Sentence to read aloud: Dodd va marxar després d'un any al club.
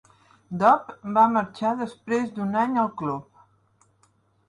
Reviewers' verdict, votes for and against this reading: accepted, 4, 0